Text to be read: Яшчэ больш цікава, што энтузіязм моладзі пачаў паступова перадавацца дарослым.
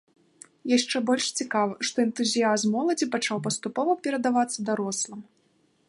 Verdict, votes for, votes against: accepted, 2, 0